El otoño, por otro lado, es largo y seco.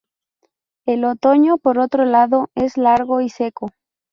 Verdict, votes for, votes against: accepted, 2, 0